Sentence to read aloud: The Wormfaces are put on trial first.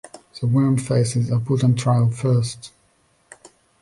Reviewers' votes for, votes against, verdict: 1, 2, rejected